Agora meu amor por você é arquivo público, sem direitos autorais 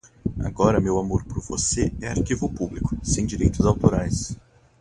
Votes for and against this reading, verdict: 2, 0, accepted